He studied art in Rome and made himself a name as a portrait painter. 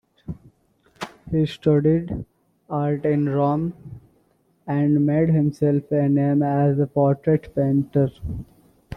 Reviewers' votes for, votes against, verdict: 0, 2, rejected